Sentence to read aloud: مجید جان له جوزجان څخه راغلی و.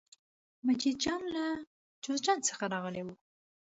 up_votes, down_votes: 3, 0